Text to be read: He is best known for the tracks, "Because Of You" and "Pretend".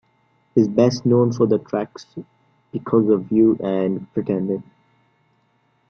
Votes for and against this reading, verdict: 0, 2, rejected